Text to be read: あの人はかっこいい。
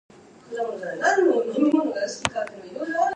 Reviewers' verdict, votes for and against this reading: rejected, 2, 6